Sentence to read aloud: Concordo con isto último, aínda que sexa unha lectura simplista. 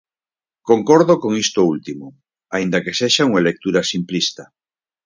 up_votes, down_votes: 4, 0